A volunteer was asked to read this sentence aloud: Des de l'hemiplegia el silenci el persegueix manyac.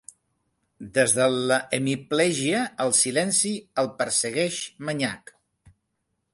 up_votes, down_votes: 1, 2